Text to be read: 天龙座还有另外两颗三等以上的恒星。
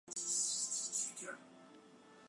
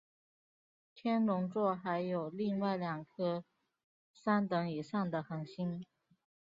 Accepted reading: second